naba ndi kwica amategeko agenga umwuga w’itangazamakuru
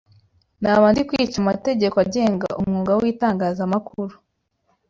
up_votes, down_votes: 3, 0